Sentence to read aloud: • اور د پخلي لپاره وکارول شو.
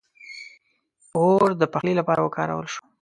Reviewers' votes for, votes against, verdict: 2, 0, accepted